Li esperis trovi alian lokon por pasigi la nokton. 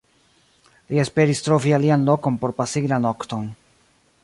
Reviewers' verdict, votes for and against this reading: accepted, 2, 1